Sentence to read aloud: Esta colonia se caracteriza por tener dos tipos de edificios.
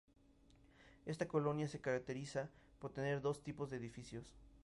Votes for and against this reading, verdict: 2, 0, accepted